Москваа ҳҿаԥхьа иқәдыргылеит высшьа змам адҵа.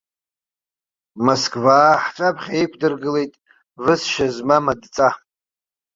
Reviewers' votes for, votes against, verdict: 2, 0, accepted